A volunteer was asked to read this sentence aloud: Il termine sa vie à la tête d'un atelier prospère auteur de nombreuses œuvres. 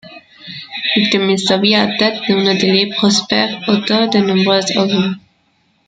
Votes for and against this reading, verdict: 0, 2, rejected